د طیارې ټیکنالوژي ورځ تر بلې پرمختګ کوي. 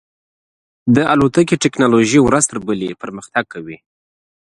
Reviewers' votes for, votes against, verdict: 0, 2, rejected